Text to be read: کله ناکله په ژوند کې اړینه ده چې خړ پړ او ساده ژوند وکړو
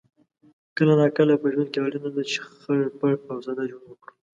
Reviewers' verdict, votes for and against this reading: accepted, 2, 0